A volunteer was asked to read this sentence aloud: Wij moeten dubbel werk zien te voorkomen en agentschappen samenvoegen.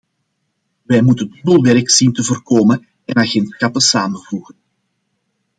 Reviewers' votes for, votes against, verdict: 1, 2, rejected